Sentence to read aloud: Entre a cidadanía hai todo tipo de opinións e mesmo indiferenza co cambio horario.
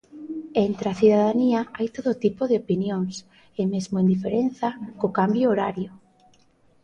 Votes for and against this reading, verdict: 2, 0, accepted